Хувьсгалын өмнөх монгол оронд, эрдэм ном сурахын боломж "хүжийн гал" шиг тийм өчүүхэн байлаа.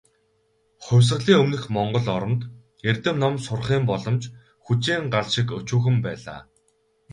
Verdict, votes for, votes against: accepted, 2, 0